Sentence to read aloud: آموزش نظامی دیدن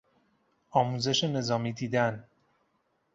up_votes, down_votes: 2, 0